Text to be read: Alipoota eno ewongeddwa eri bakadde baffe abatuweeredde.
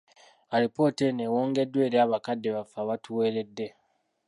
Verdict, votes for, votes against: accepted, 2, 0